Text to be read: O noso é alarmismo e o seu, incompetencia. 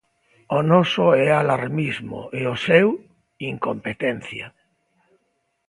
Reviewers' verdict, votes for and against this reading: accepted, 2, 0